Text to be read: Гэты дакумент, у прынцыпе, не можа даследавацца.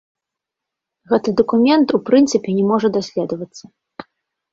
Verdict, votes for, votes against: rejected, 0, 2